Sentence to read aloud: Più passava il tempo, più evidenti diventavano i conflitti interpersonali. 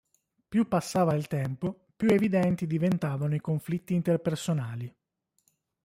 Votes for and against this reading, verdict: 2, 0, accepted